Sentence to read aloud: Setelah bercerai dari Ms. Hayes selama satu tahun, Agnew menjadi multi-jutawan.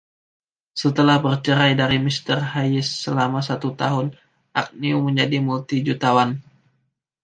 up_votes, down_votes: 1, 2